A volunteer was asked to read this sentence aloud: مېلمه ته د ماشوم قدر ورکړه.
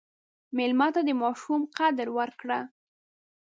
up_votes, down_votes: 2, 0